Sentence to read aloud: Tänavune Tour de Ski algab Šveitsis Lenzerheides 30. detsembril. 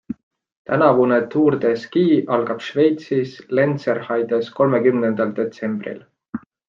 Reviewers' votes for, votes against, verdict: 0, 2, rejected